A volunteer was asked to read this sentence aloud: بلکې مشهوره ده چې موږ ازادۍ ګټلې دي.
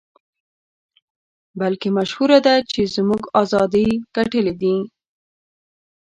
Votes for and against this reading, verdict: 1, 2, rejected